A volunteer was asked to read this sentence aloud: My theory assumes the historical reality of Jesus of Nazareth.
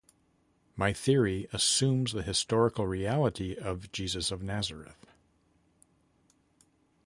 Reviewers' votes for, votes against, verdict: 2, 0, accepted